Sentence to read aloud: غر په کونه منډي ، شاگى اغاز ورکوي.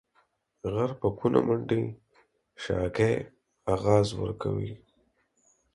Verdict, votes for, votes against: accepted, 4, 0